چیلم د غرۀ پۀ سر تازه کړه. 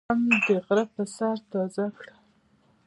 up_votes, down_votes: 1, 2